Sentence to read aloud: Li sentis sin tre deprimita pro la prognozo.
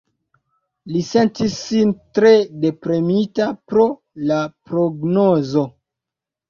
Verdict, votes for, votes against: rejected, 1, 2